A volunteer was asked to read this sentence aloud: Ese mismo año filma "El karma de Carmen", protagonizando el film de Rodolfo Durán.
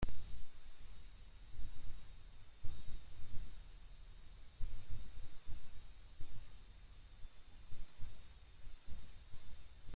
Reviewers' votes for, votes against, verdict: 0, 2, rejected